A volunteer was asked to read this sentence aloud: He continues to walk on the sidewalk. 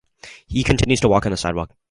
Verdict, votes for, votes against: accepted, 2, 0